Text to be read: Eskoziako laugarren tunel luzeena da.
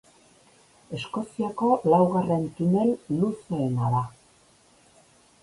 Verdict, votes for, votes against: rejected, 2, 2